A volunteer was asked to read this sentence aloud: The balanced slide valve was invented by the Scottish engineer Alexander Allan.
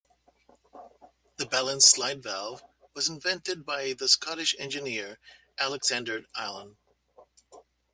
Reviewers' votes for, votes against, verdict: 2, 0, accepted